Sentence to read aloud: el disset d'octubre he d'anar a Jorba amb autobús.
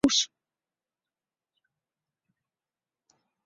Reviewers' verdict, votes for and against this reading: rejected, 0, 2